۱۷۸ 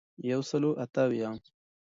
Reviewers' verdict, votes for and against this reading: rejected, 0, 2